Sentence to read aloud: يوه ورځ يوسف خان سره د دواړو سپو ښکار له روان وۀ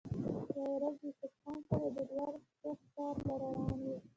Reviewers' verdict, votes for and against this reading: rejected, 1, 2